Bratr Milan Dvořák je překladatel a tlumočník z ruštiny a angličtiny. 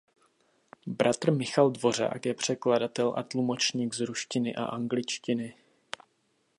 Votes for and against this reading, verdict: 0, 2, rejected